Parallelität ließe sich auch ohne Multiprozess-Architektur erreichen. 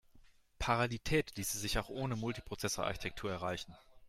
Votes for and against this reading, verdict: 0, 2, rejected